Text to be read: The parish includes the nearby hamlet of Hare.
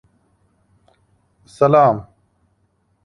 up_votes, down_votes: 0, 2